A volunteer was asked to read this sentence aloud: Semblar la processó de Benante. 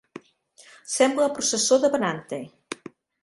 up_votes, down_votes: 1, 2